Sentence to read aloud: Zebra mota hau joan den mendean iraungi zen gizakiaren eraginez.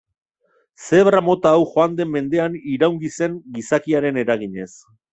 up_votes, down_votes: 1, 2